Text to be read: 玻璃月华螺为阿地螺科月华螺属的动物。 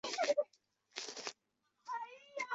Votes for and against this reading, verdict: 0, 4, rejected